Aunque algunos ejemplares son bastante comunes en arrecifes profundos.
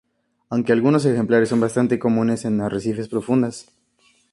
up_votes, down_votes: 2, 0